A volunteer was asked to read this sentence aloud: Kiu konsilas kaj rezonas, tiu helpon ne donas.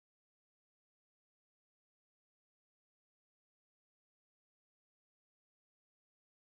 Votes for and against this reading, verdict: 0, 2, rejected